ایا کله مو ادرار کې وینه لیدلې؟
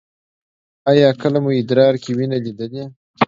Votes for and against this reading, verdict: 1, 2, rejected